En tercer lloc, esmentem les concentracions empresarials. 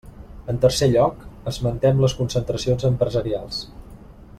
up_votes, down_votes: 3, 0